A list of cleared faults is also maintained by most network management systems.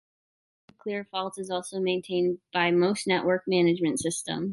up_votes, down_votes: 0, 3